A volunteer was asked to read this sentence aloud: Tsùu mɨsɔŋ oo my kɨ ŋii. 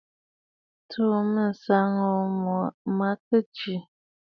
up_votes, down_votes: 1, 2